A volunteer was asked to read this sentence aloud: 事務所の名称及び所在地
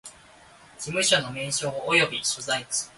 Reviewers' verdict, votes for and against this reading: accepted, 2, 0